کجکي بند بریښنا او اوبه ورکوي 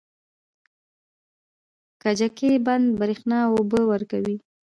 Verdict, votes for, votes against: accepted, 2, 0